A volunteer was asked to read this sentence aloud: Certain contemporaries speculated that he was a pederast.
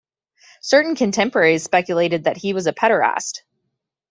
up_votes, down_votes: 2, 0